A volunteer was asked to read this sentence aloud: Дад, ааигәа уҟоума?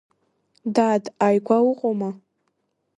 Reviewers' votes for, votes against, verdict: 2, 1, accepted